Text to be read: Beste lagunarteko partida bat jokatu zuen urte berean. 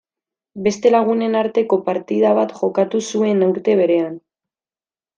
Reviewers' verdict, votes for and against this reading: rejected, 1, 2